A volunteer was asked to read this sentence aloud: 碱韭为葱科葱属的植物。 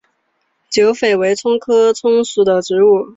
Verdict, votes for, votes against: accepted, 5, 0